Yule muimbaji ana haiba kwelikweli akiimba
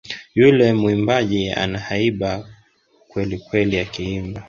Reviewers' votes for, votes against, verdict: 3, 0, accepted